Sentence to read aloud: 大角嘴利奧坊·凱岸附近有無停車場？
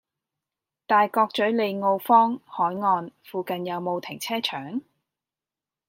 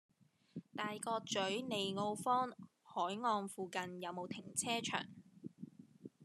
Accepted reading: first